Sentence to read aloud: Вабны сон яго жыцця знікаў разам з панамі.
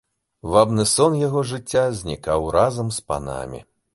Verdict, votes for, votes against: accepted, 2, 1